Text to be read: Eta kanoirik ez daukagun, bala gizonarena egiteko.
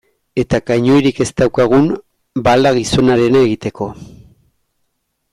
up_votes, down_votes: 2, 0